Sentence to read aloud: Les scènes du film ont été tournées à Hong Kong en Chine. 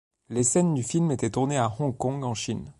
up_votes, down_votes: 1, 2